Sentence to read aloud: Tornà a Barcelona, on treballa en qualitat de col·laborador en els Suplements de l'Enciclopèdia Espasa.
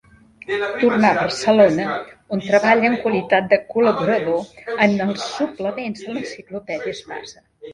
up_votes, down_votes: 0, 2